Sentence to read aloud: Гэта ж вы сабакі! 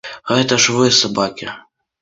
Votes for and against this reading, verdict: 2, 0, accepted